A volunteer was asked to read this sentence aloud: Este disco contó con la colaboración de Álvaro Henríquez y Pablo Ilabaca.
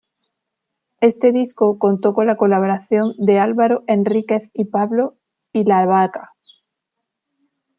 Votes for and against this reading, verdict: 1, 2, rejected